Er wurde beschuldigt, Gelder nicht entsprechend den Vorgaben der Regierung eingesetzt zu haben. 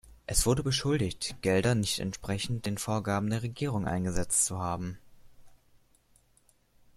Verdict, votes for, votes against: rejected, 1, 2